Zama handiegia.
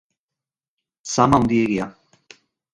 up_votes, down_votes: 0, 2